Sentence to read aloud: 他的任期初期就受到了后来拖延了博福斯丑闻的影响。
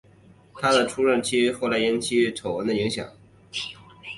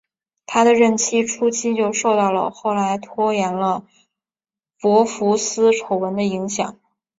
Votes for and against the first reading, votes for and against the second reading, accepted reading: 1, 2, 10, 0, second